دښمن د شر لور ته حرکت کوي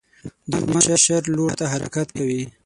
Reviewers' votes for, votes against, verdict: 3, 6, rejected